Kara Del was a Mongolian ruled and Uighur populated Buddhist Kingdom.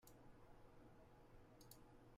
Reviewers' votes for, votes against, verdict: 1, 2, rejected